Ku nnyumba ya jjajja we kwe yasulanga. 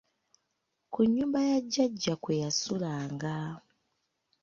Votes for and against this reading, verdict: 0, 2, rejected